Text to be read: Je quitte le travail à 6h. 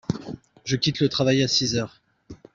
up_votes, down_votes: 0, 2